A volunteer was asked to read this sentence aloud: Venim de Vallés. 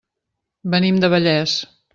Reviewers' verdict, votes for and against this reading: rejected, 0, 2